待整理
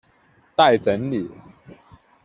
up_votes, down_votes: 2, 0